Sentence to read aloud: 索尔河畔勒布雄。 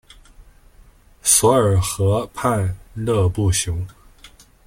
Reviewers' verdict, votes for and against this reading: accepted, 2, 0